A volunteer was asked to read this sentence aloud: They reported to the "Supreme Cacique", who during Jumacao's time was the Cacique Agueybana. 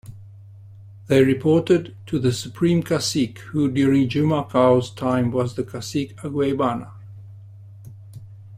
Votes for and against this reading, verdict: 2, 0, accepted